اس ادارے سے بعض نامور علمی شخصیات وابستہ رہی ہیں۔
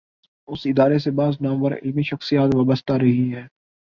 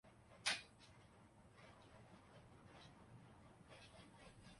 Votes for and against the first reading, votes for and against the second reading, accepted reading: 3, 2, 0, 3, first